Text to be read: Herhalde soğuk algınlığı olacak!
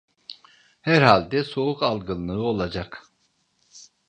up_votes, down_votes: 3, 0